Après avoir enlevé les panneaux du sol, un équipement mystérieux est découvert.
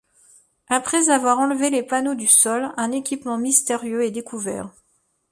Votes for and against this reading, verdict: 2, 0, accepted